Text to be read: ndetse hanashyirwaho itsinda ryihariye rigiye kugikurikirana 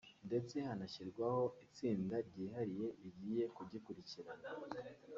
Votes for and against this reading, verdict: 2, 1, accepted